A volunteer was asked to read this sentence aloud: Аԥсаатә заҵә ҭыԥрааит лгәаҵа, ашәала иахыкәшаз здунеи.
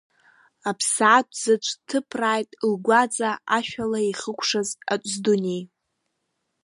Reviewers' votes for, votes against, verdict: 0, 2, rejected